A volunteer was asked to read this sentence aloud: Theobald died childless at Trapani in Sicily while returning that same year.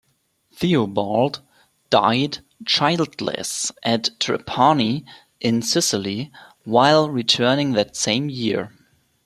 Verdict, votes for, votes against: accepted, 2, 0